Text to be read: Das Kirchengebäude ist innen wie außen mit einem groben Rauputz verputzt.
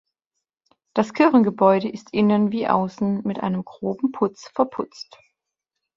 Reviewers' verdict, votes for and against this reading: rejected, 0, 2